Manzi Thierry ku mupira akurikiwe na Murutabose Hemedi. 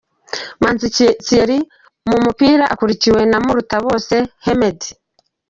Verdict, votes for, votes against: rejected, 1, 2